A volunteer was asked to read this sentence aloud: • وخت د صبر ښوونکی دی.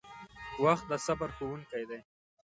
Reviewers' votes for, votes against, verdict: 1, 2, rejected